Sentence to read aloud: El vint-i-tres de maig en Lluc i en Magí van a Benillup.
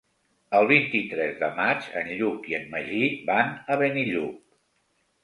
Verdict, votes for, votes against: accepted, 4, 0